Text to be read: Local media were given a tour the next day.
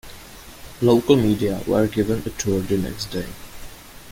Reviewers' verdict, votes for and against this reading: accepted, 2, 1